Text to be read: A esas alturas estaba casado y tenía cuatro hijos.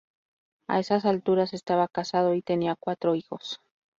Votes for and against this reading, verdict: 2, 0, accepted